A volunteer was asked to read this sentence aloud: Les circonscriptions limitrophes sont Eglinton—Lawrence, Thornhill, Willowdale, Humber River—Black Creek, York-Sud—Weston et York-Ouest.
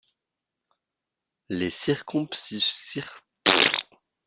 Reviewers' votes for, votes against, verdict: 0, 2, rejected